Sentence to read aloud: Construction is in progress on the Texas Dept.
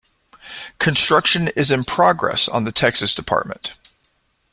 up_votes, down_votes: 1, 2